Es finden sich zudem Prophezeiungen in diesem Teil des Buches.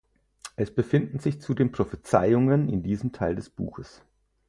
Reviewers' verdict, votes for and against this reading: rejected, 0, 4